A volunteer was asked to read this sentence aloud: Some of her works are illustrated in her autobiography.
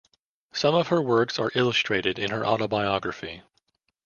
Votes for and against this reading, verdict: 2, 0, accepted